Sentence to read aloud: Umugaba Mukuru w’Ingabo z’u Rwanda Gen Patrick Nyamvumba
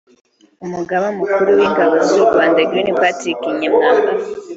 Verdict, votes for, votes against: rejected, 0, 2